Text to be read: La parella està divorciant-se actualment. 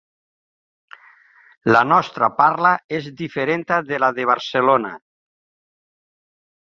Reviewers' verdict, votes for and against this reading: rejected, 1, 2